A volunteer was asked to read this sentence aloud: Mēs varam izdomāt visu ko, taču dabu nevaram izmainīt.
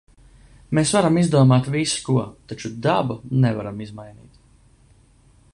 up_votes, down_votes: 2, 0